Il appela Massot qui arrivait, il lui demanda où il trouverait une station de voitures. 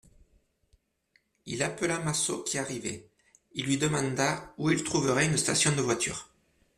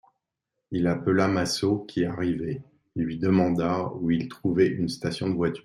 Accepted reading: first